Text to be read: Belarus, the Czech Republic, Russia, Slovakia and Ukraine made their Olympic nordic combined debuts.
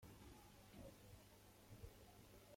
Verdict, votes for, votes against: rejected, 0, 2